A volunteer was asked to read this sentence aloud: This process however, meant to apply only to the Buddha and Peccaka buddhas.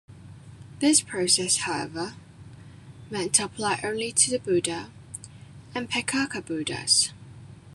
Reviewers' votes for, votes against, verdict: 2, 1, accepted